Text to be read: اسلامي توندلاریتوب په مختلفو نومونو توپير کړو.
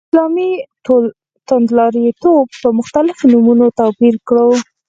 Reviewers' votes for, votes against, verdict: 2, 4, rejected